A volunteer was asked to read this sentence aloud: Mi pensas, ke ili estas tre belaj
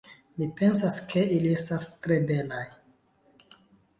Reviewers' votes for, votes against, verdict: 2, 0, accepted